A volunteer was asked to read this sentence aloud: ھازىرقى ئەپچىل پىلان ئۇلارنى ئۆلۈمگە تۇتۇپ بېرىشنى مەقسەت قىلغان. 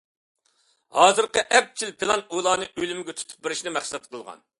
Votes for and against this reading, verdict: 2, 0, accepted